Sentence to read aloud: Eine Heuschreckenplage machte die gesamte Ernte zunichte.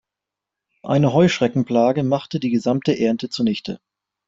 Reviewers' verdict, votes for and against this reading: accepted, 3, 0